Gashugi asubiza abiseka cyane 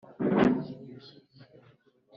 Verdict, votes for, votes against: rejected, 1, 2